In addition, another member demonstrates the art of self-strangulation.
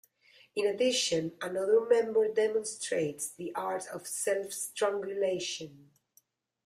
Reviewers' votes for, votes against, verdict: 2, 1, accepted